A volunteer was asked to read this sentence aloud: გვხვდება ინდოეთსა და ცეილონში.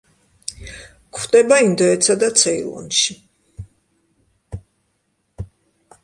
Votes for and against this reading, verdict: 2, 0, accepted